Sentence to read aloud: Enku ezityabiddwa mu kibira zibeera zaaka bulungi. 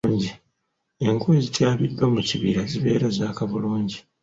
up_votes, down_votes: 2, 0